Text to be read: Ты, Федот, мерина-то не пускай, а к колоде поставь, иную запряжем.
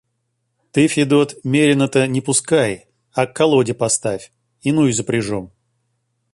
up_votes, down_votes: 2, 0